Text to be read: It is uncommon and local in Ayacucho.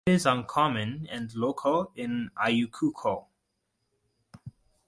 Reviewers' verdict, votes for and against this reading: rejected, 1, 2